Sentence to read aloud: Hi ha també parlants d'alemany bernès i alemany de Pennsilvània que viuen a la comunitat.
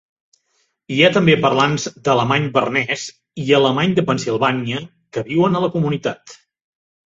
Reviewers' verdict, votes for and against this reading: accepted, 4, 0